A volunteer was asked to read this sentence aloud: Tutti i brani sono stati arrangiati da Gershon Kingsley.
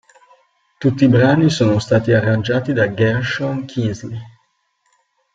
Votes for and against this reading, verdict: 2, 0, accepted